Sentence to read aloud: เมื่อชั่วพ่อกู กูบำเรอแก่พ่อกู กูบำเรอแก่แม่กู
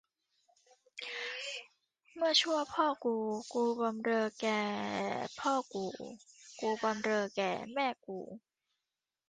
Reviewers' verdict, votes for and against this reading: accepted, 2, 0